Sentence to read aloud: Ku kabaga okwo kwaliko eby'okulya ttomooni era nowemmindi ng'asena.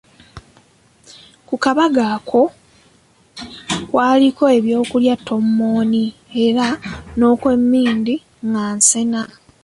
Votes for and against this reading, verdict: 0, 2, rejected